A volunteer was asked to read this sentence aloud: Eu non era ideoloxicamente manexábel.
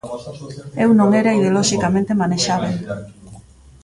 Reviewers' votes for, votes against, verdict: 0, 2, rejected